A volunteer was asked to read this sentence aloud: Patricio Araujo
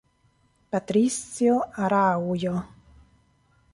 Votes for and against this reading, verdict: 1, 2, rejected